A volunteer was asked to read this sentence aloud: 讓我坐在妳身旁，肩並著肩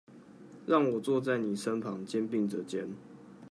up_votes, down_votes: 1, 2